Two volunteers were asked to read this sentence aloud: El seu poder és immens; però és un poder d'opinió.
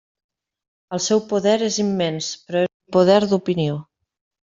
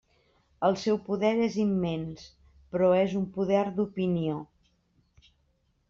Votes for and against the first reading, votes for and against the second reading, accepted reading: 0, 2, 3, 0, second